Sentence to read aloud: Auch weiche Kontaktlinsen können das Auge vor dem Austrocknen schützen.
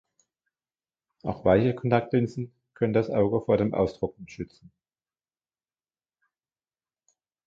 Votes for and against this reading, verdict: 1, 2, rejected